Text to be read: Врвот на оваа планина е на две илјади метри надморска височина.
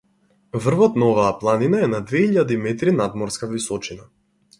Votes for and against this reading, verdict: 4, 0, accepted